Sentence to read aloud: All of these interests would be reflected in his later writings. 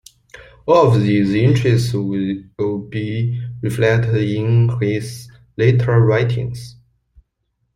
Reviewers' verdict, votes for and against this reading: rejected, 0, 2